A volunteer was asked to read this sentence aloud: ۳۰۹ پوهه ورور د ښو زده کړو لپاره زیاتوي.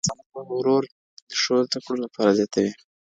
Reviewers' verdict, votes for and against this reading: rejected, 0, 2